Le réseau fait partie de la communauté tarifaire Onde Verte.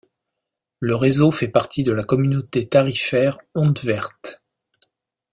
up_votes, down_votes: 2, 0